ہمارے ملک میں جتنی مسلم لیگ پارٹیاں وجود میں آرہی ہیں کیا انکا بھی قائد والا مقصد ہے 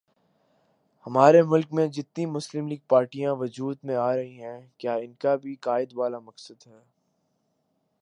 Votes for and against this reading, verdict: 2, 0, accepted